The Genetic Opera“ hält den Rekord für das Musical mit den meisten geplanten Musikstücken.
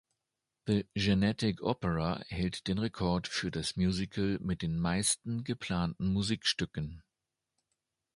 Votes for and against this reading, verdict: 2, 0, accepted